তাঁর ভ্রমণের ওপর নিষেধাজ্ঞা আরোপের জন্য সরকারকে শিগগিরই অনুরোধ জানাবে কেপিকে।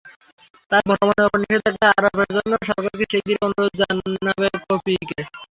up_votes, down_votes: 0, 6